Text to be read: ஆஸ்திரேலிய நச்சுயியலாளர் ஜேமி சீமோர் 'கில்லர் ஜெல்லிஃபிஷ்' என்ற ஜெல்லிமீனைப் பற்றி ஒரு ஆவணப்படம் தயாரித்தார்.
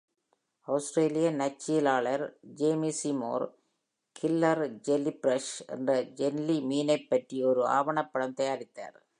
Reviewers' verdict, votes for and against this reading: rejected, 1, 2